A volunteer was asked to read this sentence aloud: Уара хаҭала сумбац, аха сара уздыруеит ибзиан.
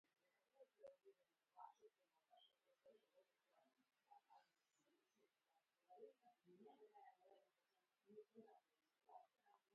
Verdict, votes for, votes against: rejected, 0, 2